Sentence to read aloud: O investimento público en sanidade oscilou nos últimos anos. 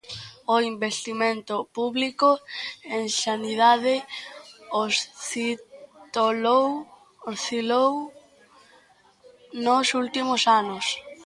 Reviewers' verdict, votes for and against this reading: rejected, 0, 2